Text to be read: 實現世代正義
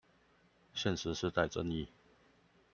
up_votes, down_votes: 0, 2